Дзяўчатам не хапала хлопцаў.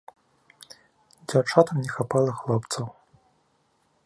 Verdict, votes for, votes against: accepted, 2, 0